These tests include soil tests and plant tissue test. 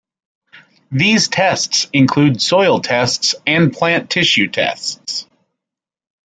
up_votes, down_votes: 1, 2